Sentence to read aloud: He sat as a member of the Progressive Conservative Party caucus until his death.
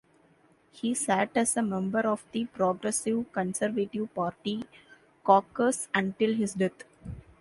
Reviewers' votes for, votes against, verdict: 0, 2, rejected